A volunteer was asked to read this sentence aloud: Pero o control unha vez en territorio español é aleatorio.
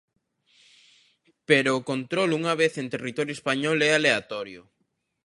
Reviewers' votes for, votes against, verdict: 2, 0, accepted